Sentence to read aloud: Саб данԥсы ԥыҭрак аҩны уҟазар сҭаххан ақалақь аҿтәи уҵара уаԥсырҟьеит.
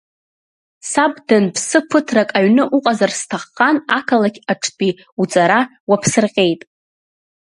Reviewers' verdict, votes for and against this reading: accepted, 2, 1